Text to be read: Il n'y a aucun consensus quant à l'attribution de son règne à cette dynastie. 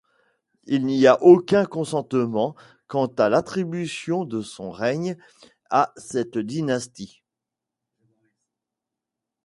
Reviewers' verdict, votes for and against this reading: rejected, 1, 2